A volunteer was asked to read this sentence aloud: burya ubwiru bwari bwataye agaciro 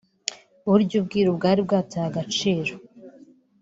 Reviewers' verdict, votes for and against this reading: accepted, 3, 0